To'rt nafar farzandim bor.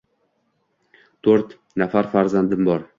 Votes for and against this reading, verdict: 2, 1, accepted